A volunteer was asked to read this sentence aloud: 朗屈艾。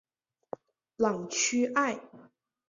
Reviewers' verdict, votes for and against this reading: accepted, 4, 0